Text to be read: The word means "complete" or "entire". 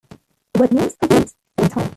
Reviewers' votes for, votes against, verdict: 0, 3, rejected